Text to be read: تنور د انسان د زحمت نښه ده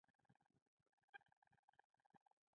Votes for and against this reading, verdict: 1, 2, rejected